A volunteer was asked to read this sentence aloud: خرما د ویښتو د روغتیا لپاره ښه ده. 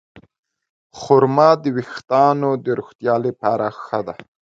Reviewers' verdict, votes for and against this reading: rejected, 1, 2